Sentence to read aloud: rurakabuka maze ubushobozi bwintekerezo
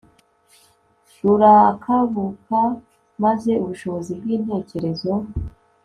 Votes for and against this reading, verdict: 2, 0, accepted